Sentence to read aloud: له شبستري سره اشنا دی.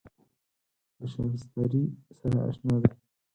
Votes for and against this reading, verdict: 4, 2, accepted